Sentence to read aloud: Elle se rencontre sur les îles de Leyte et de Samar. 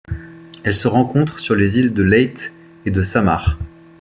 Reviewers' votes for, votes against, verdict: 2, 0, accepted